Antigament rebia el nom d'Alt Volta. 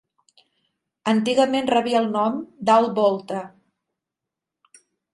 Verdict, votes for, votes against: accepted, 4, 0